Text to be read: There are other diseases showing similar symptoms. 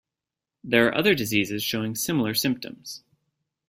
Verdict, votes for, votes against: accepted, 2, 0